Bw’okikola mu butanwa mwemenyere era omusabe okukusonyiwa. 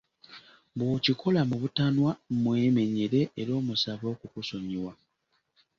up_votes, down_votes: 2, 0